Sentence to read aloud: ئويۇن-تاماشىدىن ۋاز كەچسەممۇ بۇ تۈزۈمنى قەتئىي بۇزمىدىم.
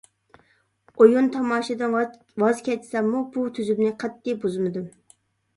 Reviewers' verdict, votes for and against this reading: rejected, 1, 2